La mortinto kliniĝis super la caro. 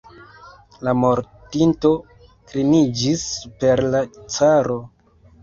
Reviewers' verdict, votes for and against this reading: rejected, 1, 2